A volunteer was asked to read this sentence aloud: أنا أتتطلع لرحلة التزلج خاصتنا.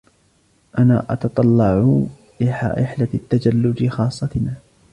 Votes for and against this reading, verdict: 0, 2, rejected